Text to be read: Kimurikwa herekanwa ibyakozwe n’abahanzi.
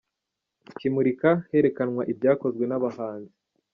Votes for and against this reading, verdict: 1, 2, rejected